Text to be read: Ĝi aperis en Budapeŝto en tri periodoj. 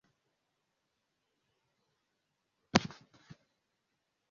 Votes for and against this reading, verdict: 1, 2, rejected